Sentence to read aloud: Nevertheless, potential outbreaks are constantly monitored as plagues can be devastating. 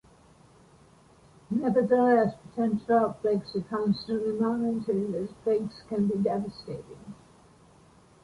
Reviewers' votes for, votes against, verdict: 1, 2, rejected